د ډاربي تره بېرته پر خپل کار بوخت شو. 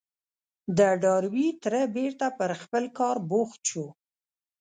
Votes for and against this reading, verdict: 1, 2, rejected